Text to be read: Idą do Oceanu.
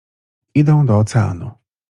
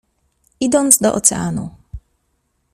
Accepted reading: first